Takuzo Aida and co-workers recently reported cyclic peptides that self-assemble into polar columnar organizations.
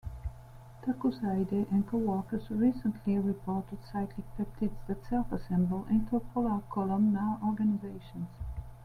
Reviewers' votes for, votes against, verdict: 3, 0, accepted